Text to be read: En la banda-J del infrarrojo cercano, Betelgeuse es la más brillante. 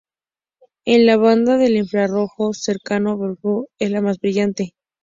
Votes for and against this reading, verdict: 2, 0, accepted